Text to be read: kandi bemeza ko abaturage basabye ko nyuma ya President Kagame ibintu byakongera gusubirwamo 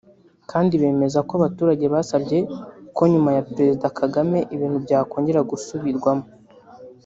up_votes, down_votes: 2, 1